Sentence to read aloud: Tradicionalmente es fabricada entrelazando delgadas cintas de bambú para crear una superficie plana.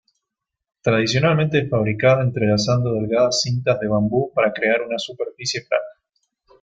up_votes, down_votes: 1, 2